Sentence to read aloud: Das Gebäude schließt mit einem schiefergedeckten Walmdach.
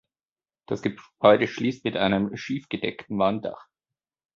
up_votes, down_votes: 0, 2